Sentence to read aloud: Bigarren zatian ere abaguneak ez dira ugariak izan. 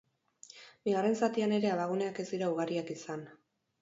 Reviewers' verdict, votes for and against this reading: accepted, 8, 0